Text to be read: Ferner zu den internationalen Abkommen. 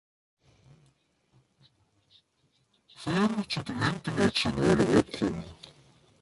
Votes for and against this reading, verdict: 0, 2, rejected